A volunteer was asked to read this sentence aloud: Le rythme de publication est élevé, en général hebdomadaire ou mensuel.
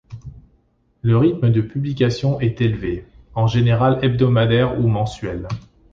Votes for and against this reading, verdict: 2, 0, accepted